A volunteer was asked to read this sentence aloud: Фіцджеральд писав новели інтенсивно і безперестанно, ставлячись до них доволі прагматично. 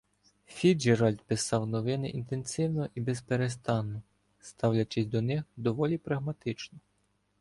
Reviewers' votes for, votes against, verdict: 0, 2, rejected